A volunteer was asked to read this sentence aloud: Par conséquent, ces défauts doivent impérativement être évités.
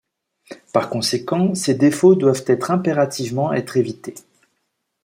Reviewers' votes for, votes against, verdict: 0, 2, rejected